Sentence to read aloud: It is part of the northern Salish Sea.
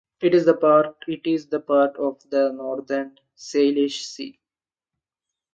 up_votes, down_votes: 2, 1